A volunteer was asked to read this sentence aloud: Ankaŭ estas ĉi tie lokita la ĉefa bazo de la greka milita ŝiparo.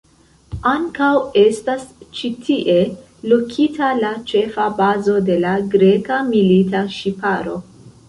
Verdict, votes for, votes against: rejected, 1, 2